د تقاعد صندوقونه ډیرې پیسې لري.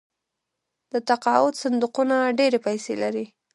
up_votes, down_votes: 1, 2